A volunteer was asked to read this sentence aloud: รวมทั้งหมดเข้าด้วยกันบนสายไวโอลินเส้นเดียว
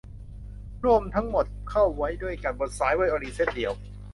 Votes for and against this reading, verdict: 0, 2, rejected